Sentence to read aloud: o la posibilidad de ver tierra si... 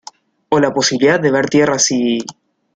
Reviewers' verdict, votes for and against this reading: accepted, 2, 0